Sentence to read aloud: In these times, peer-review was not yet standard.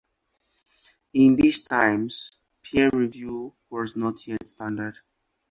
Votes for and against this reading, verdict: 4, 0, accepted